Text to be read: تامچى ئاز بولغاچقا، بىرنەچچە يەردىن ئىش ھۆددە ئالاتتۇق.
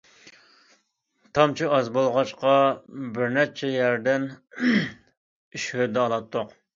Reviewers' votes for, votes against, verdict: 2, 0, accepted